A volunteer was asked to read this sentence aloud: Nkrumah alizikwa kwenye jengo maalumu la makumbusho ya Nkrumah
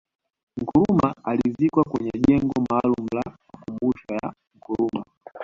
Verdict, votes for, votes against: accepted, 2, 0